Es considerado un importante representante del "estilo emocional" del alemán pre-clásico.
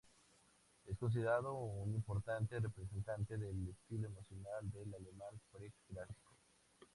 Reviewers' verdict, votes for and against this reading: accepted, 2, 0